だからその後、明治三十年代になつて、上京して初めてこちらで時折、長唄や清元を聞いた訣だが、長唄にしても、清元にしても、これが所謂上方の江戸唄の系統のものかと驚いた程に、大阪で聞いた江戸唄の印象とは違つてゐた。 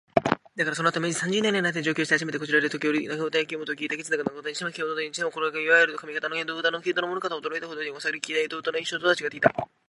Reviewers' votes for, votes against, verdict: 1, 2, rejected